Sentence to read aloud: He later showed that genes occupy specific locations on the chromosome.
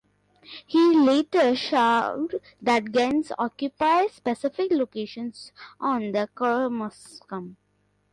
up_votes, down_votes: 0, 2